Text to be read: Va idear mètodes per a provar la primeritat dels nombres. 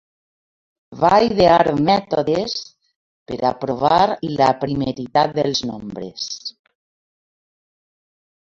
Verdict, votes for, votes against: accepted, 3, 1